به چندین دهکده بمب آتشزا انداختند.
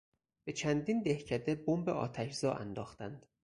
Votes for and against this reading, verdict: 4, 0, accepted